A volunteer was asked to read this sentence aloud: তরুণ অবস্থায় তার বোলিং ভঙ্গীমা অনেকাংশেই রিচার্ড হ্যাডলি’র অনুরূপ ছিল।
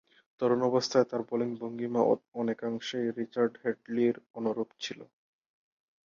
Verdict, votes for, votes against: rejected, 2, 4